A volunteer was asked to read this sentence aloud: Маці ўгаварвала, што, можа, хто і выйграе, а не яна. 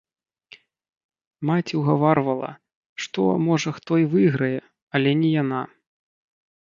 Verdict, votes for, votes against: rejected, 0, 2